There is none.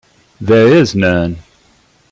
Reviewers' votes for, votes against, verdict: 2, 1, accepted